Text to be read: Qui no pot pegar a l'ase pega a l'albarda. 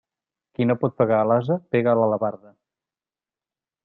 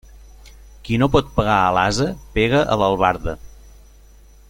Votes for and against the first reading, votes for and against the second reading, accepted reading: 0, 2, 2, 0, second